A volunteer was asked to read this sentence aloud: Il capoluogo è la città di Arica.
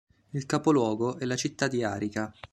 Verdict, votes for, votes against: accepted, 2, 0